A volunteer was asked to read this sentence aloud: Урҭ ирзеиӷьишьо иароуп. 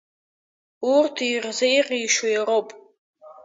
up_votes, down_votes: 2, 0